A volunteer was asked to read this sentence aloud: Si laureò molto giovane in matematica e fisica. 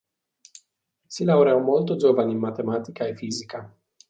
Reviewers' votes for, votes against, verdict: 2, 0, accepted